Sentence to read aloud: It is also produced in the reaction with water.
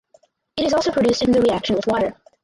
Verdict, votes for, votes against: rejected, 0, 4